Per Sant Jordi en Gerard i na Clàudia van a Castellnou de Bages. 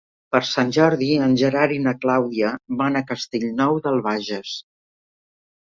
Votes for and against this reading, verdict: 0, 2, rejected